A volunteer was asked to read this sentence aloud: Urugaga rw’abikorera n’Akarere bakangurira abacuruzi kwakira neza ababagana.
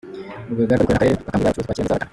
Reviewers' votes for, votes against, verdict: 0, 2, rejected